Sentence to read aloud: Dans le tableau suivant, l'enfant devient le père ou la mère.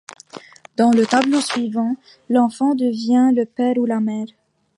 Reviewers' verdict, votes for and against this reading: accepted, 2, 1